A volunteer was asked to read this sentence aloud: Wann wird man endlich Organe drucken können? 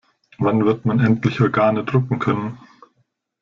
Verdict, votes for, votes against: rejected, 1, 2